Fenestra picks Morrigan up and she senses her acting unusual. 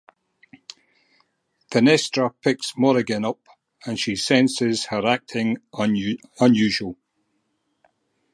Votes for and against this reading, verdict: 2, 2, rejected